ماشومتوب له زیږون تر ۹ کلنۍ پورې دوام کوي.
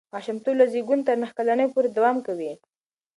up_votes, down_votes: 0, 2